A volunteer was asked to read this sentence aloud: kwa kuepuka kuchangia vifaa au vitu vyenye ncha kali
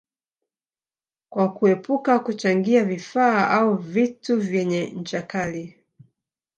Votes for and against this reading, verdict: 1, 2, rejected